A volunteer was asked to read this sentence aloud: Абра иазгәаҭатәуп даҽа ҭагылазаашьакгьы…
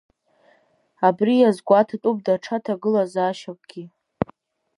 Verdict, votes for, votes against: rejected, 2, 3